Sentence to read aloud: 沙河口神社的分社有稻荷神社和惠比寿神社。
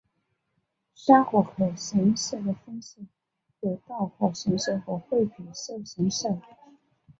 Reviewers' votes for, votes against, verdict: 1, 6, rejected